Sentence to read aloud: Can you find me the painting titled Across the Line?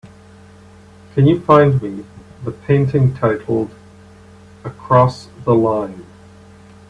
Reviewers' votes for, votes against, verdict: 3, 2, accepted